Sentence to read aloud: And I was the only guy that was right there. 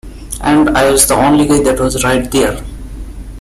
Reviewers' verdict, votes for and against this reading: accepted, 2, 1